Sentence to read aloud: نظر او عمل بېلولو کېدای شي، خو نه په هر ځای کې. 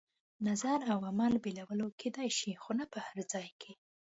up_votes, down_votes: 3, 0